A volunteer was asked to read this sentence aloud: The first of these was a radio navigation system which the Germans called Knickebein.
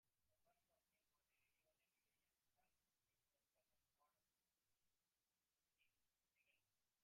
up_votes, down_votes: 0, 2